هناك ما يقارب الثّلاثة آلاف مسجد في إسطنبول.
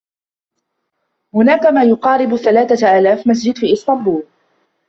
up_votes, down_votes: 0, 2